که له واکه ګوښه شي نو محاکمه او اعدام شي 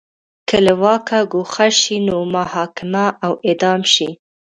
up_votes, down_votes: 0, 2